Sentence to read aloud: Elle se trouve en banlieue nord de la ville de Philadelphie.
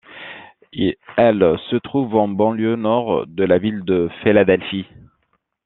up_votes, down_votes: 0, 2